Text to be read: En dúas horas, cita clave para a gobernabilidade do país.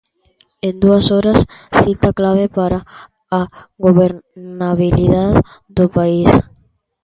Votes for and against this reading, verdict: 0, 2, rejected